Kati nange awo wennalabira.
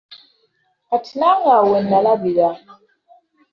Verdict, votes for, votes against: accepted, 2, 1